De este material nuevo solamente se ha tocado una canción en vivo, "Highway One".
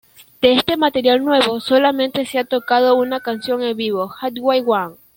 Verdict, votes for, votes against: accepted, 2, 0